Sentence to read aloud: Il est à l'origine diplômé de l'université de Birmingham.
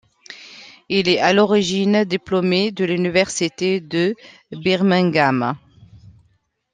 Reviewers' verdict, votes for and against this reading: accepted, 2, 1